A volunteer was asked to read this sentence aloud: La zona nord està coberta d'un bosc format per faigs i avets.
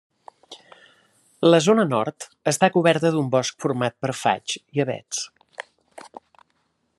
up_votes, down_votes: 2, 0